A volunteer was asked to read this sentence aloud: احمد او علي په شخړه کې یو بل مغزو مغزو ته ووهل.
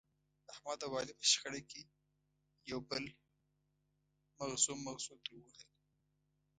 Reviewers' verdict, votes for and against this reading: rejected, 1, 2